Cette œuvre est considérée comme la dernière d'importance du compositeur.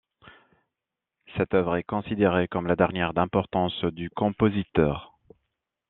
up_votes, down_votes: 2, 0